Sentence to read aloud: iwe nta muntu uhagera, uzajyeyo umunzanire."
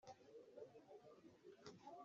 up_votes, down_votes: 1, 2